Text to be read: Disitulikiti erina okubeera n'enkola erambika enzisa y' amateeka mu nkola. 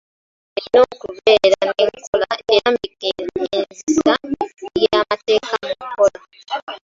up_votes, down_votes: 0, 2